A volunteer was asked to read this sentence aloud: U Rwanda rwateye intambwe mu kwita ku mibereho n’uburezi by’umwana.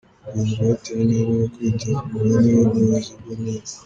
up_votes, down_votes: 0, 3